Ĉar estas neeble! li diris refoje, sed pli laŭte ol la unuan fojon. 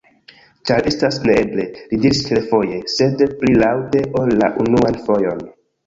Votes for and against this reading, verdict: 0, 2, rejected